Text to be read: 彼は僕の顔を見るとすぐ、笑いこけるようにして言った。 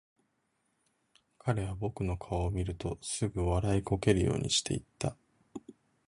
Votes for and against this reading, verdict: 1, 2, rejected